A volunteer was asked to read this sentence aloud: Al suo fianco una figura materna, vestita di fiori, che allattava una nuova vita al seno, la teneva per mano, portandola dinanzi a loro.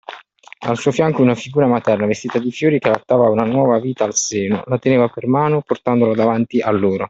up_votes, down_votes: 2, 1